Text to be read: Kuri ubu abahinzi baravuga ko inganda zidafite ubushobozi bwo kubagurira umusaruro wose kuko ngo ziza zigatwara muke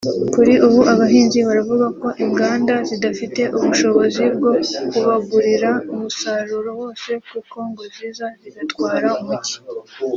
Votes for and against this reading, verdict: 1, 2, rejected